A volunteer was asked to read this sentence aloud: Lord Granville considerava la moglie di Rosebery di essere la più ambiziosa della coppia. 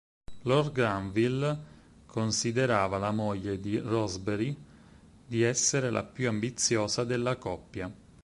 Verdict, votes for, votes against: accepted, 4, 0